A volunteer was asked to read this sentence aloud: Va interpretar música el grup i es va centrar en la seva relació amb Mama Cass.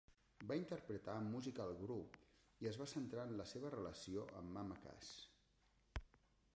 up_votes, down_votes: 1, 2